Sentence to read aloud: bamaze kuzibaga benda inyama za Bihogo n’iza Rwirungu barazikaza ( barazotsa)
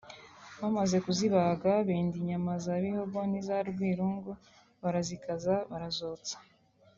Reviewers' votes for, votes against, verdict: 2, 0, accepted